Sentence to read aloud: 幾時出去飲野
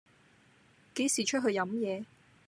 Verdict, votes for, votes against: accepted, 2, 0